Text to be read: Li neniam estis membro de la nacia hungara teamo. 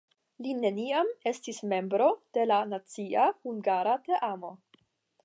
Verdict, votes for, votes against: accepted, 10, 0